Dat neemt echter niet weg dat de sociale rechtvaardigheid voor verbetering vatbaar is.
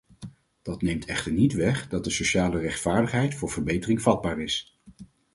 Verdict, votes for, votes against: accepted, 4, 0